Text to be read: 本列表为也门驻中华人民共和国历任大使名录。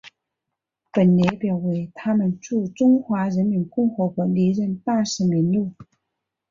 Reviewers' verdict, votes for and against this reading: accepted, 5, 1